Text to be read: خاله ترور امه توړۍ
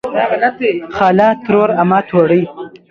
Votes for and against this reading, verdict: 0, 2, rejected